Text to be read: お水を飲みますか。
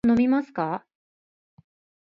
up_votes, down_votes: 2, 3